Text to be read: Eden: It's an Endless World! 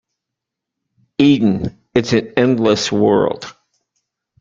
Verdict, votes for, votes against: rejected, 1, 2